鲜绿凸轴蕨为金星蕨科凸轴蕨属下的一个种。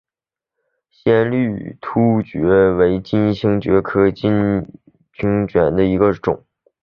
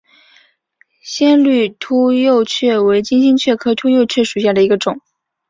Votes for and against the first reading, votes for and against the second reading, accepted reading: 1, 2, 2, 0, second